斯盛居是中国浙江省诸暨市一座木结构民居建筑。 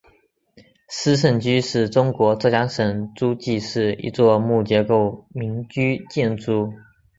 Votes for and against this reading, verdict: 2, 1, accepted